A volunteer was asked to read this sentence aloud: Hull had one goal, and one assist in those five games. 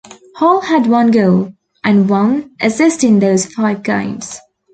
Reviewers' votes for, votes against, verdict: 2, 0, accepted